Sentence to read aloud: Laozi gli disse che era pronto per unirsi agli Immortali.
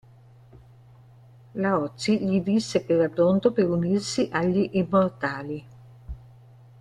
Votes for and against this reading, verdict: 2, 1, accepted